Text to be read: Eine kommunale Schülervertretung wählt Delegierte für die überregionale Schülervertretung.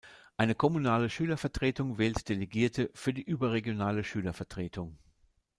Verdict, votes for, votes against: accepted, 3, 0